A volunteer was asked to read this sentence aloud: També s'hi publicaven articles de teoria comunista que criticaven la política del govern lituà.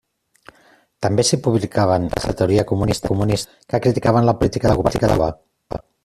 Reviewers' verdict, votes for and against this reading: rejected, 0, 2